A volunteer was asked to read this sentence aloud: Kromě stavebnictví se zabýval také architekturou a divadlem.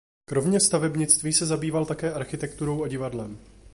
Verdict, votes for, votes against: rejected, 2, 2